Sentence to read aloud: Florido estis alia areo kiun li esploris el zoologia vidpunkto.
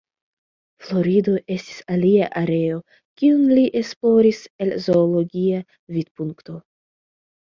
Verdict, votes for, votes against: accepted, 2, 0